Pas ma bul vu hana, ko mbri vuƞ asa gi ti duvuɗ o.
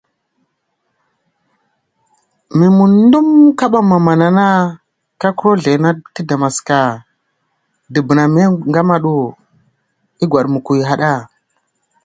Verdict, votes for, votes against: rejected, 0, 2